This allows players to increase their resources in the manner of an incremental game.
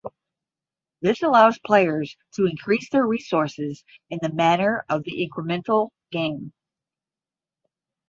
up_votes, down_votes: 0, 10